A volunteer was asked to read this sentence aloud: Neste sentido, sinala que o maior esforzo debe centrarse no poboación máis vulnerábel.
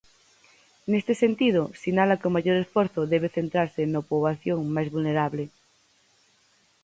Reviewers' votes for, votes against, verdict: 0, 4, rejected